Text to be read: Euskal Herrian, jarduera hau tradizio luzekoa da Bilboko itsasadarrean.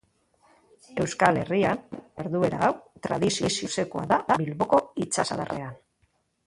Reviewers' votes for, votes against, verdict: 2, 1, accepted